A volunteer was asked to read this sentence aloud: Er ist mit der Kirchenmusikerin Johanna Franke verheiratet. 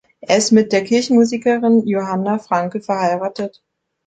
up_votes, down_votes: 2, 0